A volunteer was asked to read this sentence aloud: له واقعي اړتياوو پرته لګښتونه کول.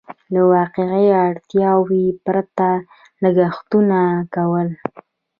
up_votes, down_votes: 1, 2